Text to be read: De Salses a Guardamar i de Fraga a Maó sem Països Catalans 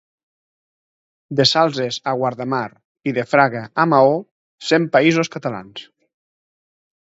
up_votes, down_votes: 0, 3